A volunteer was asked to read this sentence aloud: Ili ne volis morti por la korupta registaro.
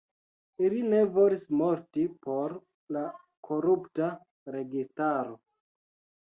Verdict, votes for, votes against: accepted, 2, 0